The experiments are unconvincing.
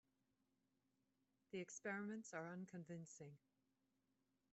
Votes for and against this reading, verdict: 1, 2, rejected